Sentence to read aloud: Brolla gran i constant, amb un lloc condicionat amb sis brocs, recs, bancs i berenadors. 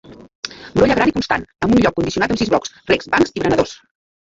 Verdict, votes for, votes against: rejected, 0, 2